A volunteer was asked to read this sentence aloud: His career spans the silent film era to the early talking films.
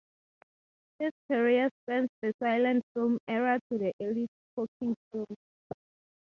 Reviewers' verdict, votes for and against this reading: rejected, 2, 4